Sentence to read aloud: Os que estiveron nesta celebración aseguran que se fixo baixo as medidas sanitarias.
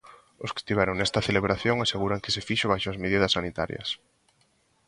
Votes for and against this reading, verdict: 2, 0, accepted